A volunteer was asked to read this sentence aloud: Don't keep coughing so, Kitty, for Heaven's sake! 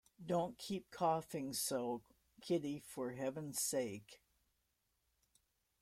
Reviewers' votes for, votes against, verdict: 2, 0, accepted